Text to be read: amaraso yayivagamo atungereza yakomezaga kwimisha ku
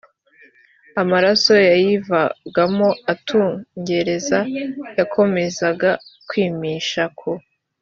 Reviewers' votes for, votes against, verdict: 2, 0, accepted